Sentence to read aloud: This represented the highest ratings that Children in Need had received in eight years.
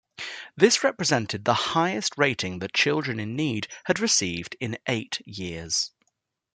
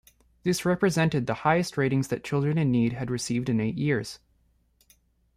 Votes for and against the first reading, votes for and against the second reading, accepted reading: 1, 2, 2, 0, second